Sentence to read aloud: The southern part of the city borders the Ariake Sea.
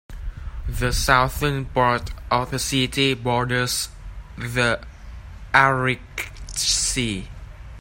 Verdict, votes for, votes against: rejected, 0, 2